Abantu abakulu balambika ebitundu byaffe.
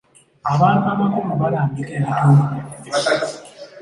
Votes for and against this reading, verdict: 2, 0, accepted